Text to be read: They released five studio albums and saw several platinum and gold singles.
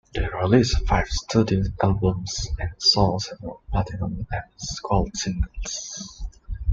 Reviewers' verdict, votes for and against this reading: rejected, 0, 2